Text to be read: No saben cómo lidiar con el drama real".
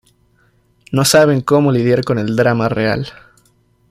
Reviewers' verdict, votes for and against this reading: accepted, 2, 0